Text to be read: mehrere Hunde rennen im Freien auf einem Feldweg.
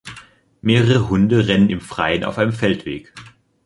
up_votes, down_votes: 2, 1